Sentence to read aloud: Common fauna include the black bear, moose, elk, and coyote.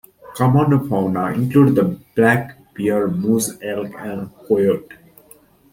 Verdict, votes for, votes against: accepted, 2, 1